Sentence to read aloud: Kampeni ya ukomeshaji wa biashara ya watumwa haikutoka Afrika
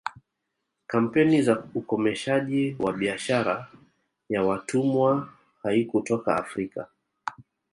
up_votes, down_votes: 1, 2